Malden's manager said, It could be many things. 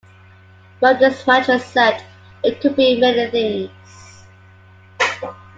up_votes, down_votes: 0, 2